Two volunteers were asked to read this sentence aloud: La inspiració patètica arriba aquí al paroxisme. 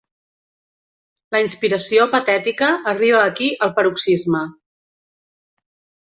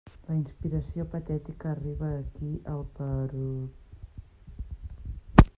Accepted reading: first